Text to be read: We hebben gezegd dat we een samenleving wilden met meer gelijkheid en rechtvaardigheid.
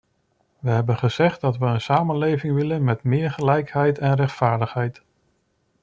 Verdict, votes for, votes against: rejected, 0, 2